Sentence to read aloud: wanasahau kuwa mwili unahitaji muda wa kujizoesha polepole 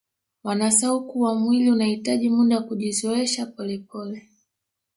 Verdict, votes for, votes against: rejected, 0, 2